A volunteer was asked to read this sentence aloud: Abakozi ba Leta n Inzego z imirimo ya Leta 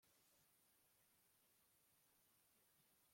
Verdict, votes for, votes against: rejected, 1, 2